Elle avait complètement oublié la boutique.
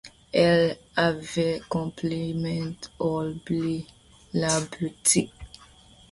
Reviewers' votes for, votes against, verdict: 1, 2, rejected